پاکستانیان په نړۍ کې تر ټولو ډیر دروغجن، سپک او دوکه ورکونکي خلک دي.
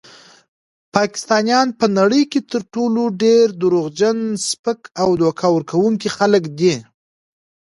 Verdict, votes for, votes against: rejected, 1, 2